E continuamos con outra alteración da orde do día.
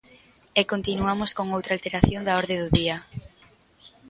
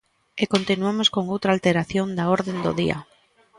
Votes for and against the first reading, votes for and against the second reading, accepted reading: 3, 0, 1, 2, first